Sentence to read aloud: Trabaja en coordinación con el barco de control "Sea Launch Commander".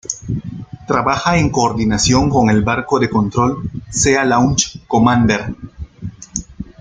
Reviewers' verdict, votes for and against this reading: rejected, 1, 2